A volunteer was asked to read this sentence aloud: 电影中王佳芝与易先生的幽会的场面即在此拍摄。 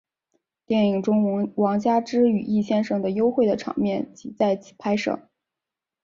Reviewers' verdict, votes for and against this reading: accepted, 2, 1